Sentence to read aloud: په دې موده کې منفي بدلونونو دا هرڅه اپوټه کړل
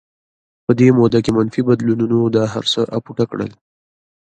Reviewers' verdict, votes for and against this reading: accepted, 2, 0